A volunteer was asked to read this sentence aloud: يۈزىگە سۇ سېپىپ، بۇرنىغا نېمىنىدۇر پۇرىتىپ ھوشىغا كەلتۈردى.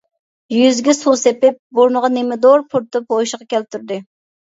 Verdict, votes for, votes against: rejected, 0, 2